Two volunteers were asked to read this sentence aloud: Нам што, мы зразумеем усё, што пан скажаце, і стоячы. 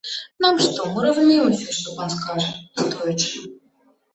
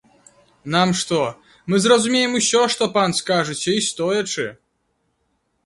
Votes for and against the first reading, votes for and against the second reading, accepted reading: 1, 2, 2, 0, second